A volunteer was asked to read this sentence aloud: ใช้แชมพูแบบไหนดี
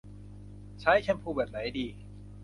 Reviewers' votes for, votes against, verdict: 2, 0, accepted